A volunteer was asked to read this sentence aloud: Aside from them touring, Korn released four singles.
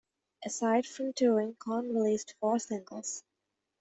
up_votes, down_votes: 1, 2